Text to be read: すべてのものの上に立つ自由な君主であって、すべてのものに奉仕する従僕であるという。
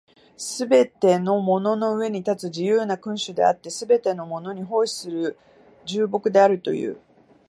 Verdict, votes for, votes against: accepted, 2, 1